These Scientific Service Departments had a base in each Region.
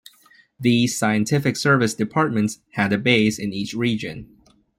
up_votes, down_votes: 2, 0